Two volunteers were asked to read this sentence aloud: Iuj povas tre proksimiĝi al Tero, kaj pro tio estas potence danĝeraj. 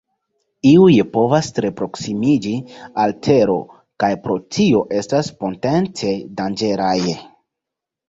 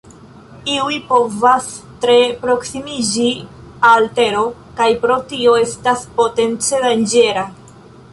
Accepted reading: first